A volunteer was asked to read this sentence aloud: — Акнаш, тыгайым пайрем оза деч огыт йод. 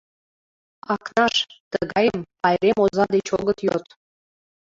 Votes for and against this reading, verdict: 2, 0, accepted